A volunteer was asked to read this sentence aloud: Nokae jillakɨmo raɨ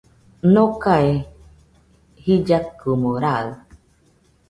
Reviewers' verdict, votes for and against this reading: accepted, 2, 0